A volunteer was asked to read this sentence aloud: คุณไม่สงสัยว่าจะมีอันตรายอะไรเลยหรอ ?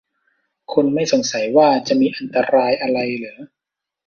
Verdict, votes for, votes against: rejected, 1, 2